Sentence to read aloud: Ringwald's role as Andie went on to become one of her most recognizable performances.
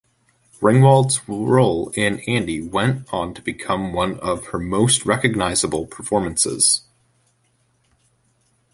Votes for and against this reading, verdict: 0, 2, rejected